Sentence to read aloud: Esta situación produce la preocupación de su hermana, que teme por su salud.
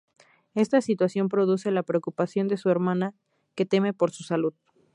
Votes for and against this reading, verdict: 2, 0, accepted